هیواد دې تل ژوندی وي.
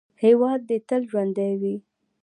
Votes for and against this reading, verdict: 2, 0, accepted